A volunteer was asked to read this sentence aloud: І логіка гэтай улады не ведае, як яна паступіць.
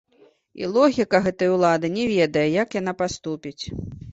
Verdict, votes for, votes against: rejected, 1, 2